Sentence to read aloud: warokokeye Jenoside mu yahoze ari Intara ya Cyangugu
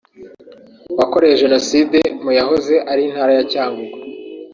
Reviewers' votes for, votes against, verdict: 1, 2, rejected